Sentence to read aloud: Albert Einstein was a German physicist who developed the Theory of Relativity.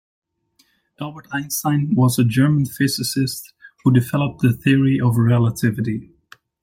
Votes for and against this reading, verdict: 2, 0, accepted